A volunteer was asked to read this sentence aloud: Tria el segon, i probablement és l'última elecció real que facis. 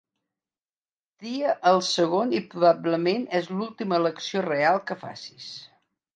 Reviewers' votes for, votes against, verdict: 2, 1, accepted